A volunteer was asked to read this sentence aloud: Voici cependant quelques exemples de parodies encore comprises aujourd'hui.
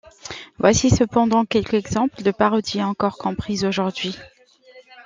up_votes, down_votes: 1, 2